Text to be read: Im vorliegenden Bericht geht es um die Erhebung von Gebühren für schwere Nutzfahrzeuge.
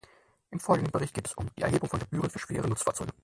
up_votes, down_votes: 0, 4